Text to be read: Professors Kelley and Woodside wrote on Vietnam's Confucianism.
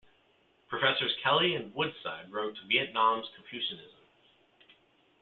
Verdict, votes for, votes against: rejected, 0, 2